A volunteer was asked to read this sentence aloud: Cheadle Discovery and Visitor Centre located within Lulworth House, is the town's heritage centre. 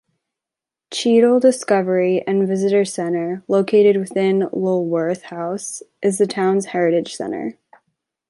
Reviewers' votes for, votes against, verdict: 2, 0, accepted